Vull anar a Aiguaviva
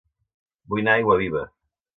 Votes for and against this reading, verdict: 3, 1, accepted